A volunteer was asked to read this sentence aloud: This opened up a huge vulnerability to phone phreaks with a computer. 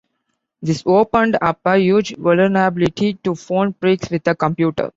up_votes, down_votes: 1, 2